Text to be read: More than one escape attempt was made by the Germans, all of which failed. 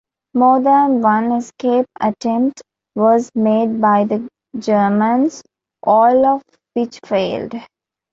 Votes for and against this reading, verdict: 2, 0, accepted